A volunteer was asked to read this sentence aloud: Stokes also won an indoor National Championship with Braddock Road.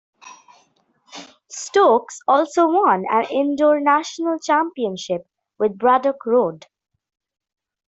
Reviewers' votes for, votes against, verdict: 1, 2, rejected